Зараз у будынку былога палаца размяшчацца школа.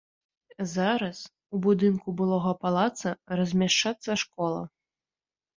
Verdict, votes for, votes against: accepted, 2, 0